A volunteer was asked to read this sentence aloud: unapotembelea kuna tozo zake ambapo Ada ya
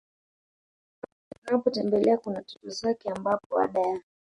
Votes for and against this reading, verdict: 0, 2, rejected